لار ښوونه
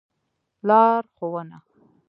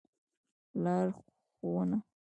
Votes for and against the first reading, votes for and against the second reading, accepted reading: 2, 0, 0, 2, first